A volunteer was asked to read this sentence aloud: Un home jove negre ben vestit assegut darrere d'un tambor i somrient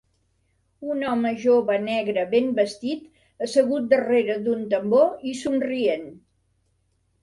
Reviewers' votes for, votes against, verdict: 3, 0, accepted